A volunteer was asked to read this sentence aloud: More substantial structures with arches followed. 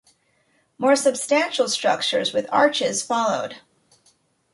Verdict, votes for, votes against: accepted, 2, 0